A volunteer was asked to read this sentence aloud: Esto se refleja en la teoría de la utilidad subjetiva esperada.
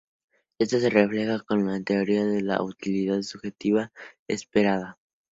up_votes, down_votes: 2, 0